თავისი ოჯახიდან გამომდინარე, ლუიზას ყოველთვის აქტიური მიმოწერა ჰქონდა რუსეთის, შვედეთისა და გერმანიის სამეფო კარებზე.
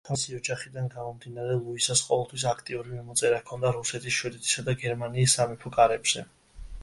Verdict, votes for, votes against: rejected, 1, 2